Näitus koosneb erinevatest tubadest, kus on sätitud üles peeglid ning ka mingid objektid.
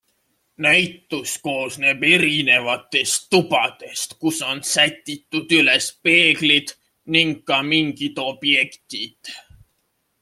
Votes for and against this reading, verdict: 2, 0, accepted